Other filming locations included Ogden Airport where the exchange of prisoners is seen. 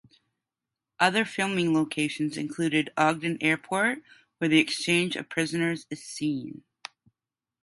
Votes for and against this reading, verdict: 2, 0, accepted